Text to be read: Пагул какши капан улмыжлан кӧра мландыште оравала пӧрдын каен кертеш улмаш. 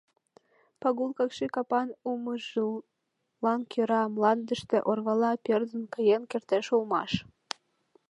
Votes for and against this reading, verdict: 0, 2, rejected